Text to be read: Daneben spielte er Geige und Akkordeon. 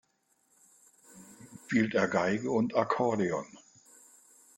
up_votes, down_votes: 0, 2